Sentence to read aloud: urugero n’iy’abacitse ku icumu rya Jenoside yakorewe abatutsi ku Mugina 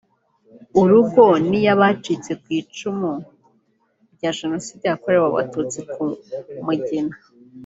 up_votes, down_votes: 0, 2